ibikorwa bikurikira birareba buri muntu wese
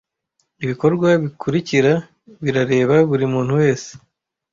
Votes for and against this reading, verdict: 2, 0, accepted